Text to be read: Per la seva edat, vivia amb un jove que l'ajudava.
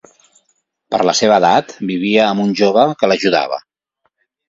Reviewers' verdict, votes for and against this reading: accepted, 2, 0